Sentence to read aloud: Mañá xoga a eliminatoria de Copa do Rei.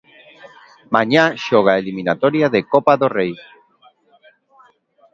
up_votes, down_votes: 2, 0